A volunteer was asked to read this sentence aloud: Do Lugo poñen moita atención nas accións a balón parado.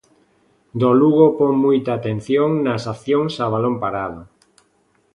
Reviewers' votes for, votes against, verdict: 0, 2, rejected